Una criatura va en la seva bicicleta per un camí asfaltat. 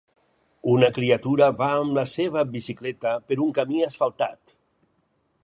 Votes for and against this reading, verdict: 2, 4, rejected